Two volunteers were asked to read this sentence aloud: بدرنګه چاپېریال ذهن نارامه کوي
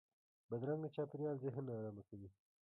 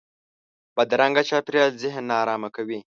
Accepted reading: second